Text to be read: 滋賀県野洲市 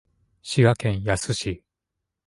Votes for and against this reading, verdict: 2, 0, accepted